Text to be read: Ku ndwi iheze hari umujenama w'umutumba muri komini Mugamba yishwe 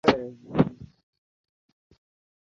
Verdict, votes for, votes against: rejected, 0, 2